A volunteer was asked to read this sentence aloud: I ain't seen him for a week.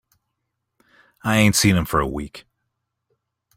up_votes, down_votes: 2, 0